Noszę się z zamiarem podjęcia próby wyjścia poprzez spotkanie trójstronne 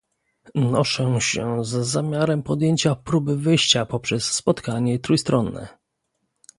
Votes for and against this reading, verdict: 2, 0, accepted